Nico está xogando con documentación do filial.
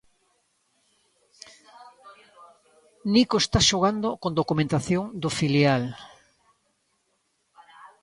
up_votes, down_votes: 2, 0